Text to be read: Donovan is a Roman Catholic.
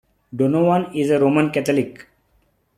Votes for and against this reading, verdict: 2, 0, accepted